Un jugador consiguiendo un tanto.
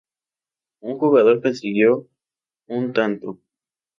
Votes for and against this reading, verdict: 0, 2, rejected